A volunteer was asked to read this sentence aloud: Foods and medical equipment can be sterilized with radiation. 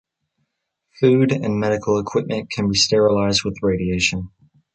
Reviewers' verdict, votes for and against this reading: rejected, 1, 2